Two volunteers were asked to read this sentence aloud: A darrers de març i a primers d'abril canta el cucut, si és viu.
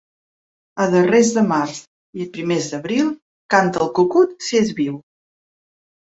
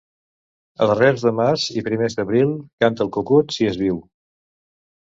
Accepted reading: first